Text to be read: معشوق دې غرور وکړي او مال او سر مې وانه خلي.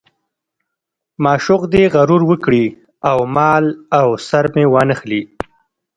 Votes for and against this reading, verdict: 1, 2, rejected